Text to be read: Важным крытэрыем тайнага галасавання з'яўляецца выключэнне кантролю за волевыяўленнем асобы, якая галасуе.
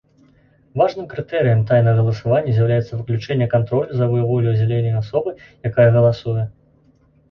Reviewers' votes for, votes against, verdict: 1, 2, rejected